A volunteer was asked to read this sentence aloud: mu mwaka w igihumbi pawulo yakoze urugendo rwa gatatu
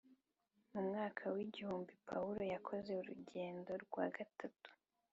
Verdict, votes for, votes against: accepted, 3, 0